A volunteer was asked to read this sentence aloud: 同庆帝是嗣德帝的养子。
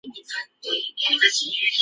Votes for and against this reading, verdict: 1, 2, rejected